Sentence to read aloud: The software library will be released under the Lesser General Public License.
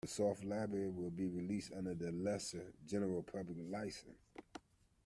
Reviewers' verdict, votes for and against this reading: rejected, 0, 2